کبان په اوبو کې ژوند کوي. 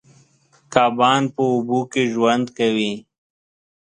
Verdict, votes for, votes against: accepted, 2, 0